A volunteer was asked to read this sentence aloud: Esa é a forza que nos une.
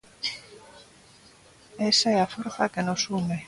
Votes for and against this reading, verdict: 2, 0, accepted